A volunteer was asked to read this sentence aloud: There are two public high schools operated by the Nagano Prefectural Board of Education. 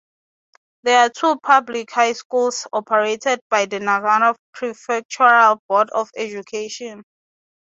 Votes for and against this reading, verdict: 6, 0, accepted